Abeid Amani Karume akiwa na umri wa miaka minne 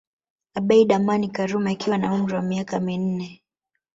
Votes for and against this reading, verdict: 1, 2, rejected